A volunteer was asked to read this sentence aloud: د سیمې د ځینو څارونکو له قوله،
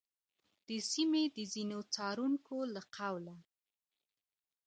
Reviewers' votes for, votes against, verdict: 3, 0, accepted